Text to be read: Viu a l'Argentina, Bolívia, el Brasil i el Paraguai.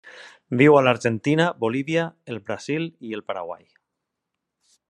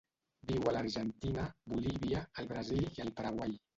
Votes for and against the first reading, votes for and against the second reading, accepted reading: 3, 0, 0, 2, first